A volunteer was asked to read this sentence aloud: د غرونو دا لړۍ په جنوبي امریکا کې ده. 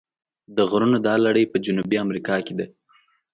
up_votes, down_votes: 2, 0